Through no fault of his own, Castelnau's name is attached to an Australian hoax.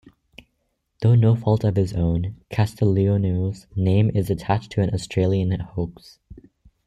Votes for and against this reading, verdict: 1, 2, rejected